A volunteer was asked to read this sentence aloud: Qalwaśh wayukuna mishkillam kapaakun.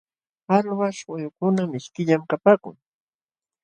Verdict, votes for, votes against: rejected, 2, 2